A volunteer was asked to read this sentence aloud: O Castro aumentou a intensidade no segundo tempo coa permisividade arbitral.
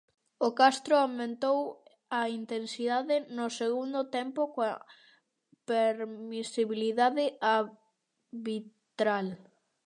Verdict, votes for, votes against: rejected, 0, 2